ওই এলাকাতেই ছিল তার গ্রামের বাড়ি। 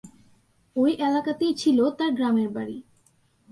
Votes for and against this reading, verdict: 2, 0, accepted